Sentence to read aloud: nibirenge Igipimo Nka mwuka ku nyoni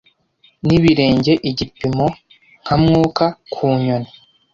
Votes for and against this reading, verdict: 2, 0, accepted